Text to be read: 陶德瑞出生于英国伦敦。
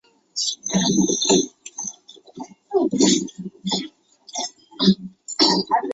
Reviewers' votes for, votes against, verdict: 0, 2, rejected